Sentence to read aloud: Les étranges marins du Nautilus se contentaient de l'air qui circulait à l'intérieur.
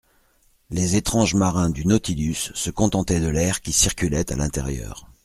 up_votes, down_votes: 2, 0